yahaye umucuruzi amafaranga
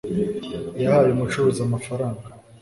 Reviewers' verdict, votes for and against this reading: accepted, 2, 0